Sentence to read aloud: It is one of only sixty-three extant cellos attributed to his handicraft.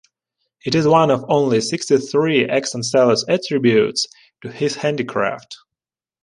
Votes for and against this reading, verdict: 0, 2, rejected